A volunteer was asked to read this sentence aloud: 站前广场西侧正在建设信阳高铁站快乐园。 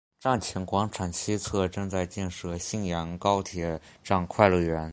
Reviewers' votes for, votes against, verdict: 2, 1, accepted